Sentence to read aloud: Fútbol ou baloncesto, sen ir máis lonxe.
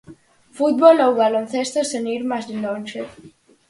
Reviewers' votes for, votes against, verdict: 4, 0, accepted